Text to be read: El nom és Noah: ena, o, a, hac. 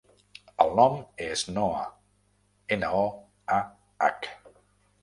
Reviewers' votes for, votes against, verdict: 2, 0, accepted